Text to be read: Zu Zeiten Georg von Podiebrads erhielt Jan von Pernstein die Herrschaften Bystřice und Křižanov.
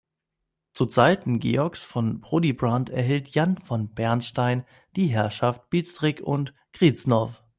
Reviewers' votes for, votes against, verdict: 0, 2, rejected